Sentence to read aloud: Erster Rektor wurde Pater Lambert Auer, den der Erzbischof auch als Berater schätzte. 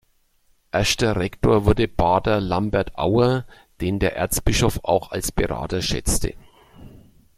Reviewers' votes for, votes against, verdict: 2, 0, accepted